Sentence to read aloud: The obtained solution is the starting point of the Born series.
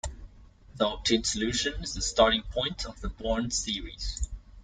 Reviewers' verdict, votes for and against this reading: accepted, 2, 1